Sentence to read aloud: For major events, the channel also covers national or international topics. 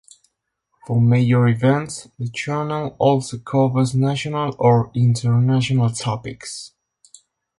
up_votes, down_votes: 2, 0